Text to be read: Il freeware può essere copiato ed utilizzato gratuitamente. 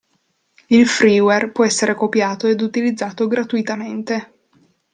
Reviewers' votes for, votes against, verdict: 2, 0, accepted